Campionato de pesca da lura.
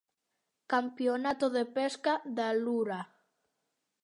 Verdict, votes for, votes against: accepted, 2, 0